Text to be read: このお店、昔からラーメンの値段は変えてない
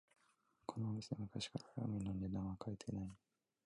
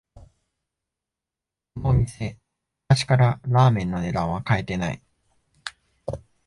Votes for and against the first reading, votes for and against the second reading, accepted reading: 0, 2, 2, 1, second